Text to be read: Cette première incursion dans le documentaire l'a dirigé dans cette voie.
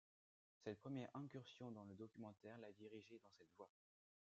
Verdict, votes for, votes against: accepted, 2, 0